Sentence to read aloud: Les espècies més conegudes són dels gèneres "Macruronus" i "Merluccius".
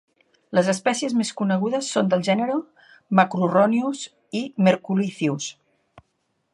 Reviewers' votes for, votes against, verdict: 0, 2, rejected